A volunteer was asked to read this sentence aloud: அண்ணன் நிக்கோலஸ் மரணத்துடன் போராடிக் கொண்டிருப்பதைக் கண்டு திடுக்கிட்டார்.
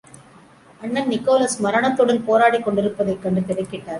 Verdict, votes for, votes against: accepted, 2, 0